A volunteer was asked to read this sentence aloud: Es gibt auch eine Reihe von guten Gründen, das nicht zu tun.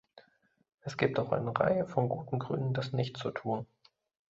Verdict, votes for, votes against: accepted, 3, 0